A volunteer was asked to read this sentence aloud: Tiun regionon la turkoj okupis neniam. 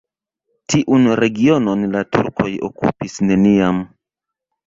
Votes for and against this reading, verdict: 2, 0, accepted